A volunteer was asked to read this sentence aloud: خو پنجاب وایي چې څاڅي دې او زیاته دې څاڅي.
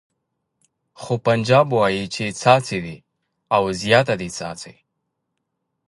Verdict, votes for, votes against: accepted, 2, 0